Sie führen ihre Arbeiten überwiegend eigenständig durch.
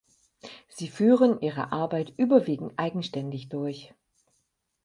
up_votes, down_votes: 2, 4